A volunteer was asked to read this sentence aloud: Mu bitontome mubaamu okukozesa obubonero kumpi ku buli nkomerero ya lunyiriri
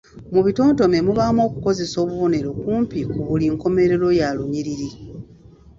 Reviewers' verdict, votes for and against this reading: rejected, 0, 2